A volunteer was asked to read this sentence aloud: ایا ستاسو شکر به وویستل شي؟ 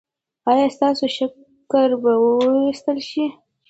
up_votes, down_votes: 2, 0